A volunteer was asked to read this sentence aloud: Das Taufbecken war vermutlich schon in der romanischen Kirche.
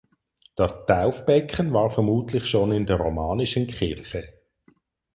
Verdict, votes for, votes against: accepted, 4, 0